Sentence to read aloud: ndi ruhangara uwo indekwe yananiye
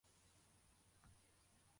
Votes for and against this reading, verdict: 0, 2, rejected